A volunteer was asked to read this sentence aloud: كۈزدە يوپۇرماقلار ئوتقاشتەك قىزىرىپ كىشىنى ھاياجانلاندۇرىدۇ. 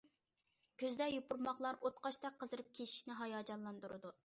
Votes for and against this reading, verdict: 2, 0, accepted